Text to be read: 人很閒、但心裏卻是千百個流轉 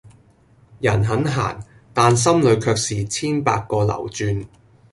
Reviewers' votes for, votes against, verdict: 2, 0, accepted